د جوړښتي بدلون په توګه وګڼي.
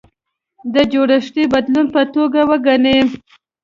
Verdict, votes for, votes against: accepted, 2, 0